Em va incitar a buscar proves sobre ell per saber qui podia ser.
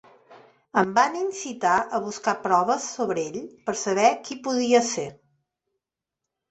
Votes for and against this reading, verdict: 0, 2, rejected